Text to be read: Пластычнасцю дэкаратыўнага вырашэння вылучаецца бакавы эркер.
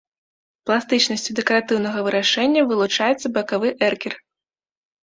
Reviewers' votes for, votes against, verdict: 2, 0, accepted